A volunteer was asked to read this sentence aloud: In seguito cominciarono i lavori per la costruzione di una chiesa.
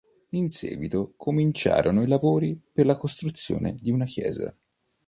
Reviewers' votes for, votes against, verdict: 2, 0, accepted